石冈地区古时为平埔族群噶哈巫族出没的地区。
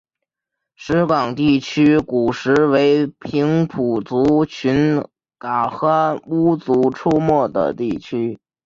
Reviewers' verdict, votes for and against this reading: rejected, 0, 2